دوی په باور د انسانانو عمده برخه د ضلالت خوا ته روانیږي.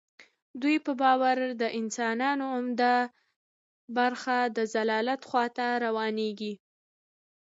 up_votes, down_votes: 2, 0